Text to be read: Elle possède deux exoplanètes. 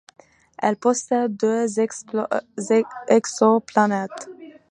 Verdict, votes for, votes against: accepted, 2, 1